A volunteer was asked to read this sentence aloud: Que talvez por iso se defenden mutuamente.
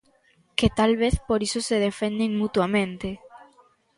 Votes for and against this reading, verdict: 2, 0, accepted